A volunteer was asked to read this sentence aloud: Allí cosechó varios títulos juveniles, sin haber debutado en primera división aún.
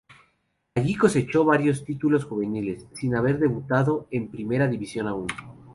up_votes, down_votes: 2, 0